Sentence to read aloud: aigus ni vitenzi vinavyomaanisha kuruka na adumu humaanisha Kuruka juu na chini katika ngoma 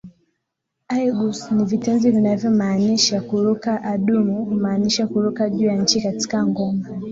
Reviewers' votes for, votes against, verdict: 3, 5, rejected